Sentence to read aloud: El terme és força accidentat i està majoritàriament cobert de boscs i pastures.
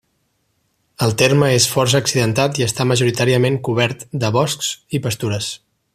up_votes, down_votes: 3, 0